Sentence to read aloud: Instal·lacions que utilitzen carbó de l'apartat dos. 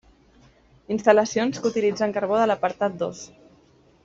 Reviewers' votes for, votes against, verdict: 3, 0, accepted